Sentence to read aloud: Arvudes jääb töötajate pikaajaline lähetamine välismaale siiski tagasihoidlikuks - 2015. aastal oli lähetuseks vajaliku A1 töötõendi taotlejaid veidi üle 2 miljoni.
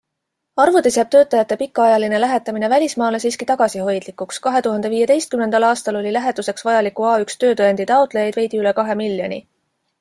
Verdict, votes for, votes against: rejected, 0, 2